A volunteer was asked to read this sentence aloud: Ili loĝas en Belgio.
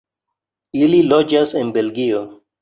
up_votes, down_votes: 3, 0